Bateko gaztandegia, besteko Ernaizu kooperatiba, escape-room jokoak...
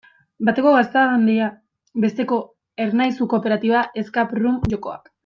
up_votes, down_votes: 1, 2